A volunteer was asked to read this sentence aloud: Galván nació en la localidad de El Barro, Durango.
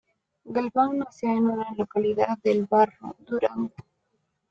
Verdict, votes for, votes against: rejected, 0, 2